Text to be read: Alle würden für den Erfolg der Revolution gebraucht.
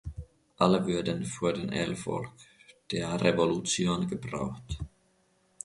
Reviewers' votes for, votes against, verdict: 2, 1, accepted